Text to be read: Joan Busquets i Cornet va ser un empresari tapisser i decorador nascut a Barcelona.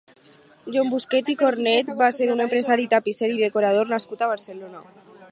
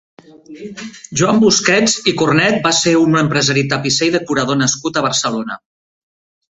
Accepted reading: second